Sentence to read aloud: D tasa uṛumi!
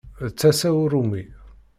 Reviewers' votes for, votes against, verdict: 2, 0, accepted